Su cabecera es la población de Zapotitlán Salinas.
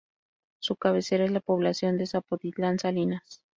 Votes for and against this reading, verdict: 2, 0, accepted